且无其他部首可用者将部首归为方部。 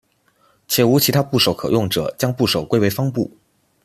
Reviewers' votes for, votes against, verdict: 2, 0, accepted